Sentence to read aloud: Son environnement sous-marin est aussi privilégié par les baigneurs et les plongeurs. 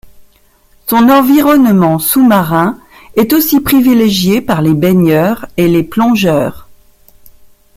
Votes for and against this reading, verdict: 1, 2, rejected